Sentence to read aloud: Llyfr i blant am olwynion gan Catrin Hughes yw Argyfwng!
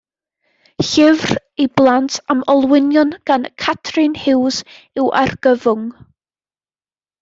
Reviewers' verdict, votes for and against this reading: accepted, 2, 0